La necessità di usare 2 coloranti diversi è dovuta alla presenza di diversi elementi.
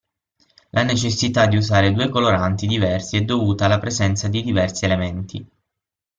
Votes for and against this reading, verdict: 0, 2, rejected